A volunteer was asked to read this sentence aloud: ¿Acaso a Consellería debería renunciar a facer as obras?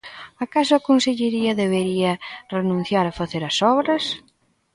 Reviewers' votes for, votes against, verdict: 2, 0, accepted